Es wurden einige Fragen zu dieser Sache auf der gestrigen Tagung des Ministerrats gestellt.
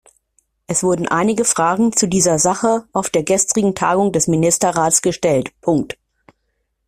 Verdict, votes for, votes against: rejected, 0, 2